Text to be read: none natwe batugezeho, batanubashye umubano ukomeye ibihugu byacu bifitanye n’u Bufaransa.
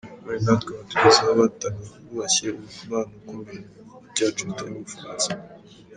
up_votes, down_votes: 1, 2